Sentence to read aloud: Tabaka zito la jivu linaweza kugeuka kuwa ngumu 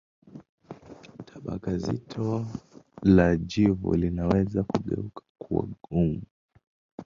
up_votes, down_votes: 1, 2